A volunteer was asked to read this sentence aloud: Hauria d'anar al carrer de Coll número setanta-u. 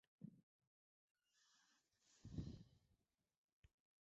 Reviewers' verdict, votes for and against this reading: rejected, 0, 2